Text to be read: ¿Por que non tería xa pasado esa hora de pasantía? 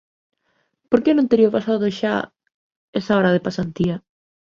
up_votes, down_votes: 0, 2